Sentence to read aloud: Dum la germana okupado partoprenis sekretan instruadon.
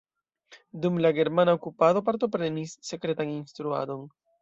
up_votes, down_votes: 1, 2